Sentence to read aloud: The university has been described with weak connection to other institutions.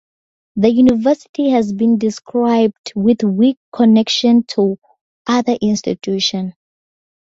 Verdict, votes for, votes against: accepted, 2, 0